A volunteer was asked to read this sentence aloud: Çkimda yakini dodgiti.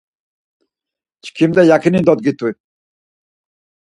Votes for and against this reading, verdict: 4, 0, accepted